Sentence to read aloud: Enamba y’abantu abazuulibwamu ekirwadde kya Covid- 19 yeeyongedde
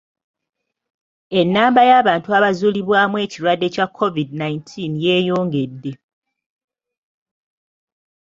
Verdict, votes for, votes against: rejected, 0, 2